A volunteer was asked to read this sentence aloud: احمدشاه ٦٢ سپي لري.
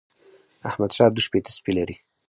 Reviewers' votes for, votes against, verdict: 0, 2, rejected